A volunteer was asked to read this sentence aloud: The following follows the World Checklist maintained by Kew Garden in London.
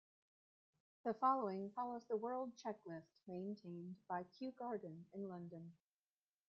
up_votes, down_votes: 1, 2